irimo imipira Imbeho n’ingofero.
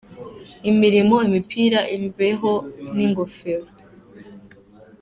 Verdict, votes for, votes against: rejected, 1, 2